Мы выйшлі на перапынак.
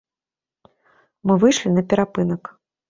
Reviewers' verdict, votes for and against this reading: accepted, 2, 0